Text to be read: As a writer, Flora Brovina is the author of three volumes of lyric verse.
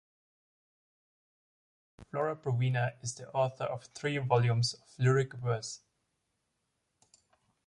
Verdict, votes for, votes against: rejected, 0, 2